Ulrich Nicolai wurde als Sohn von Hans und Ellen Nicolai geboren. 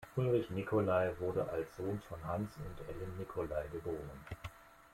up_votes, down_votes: 1, 2